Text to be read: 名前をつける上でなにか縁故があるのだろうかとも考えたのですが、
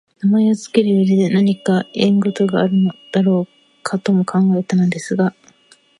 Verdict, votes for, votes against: accepted, 2, 0